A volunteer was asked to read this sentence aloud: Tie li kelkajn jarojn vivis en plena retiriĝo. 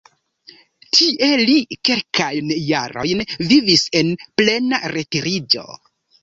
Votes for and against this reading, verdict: 1, 2, rejected